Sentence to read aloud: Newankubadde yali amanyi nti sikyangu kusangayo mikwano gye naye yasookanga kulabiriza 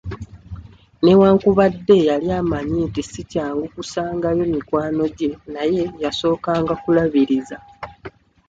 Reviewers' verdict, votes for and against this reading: accepted, 2, 0